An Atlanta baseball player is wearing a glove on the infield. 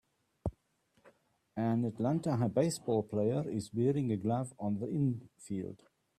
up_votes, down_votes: 0, 2